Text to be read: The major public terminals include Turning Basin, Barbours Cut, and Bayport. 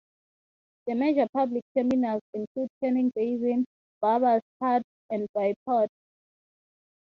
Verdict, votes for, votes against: accepted, 6, 3